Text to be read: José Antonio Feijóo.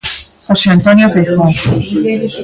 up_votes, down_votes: 1, 2